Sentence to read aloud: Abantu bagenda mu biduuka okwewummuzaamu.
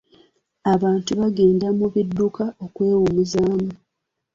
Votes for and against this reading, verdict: 1, 2, rejected